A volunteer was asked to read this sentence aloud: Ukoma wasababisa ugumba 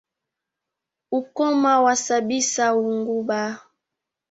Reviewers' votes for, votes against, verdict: 1, 2, rejected